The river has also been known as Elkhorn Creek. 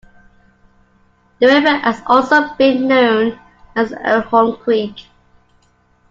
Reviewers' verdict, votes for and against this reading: rejected, 1, 2